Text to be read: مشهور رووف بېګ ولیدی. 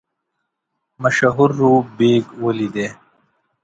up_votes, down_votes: 1, 2